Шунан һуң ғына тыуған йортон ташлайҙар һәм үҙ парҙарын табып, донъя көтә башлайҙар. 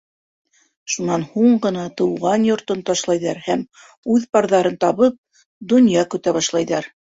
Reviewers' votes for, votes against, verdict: 3, 0, accepted